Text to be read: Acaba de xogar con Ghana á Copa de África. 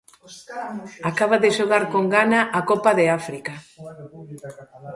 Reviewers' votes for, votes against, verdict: 0, 2, rejected